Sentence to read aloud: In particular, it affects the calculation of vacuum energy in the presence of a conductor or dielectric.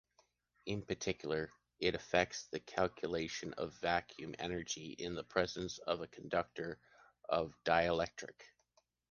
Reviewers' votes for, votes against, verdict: 0, 2, rejected